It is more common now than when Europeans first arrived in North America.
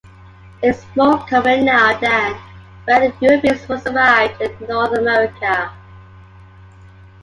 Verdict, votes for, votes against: accepted, 2, 1